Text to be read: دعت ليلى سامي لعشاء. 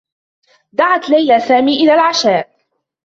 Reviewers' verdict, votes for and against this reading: rejected, 1, 2